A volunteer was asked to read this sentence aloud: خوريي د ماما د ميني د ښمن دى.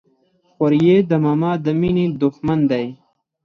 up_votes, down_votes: 4, 2